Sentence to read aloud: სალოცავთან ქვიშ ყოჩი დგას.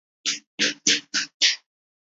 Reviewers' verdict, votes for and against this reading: rejected, 0, 2